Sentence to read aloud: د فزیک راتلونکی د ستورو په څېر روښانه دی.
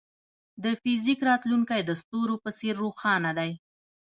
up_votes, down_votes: 1, 2